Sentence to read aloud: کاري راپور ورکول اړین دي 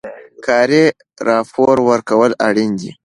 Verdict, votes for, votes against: accepted, 2, 0